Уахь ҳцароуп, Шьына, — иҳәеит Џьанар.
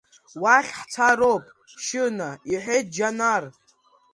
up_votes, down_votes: 2, 0